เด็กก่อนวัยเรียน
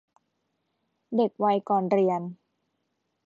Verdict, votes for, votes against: rejected, 0, 2